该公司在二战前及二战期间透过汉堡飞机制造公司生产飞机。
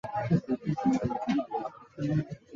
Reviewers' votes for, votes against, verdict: 0, 3, rejected